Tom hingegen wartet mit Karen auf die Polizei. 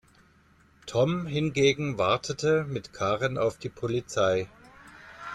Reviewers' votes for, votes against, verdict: 1, 2, rejected